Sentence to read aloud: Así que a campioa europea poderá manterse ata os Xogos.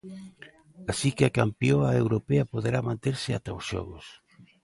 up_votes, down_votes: 2, 0